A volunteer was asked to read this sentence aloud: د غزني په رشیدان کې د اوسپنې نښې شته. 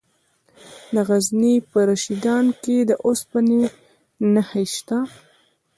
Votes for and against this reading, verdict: 0, 2, rejected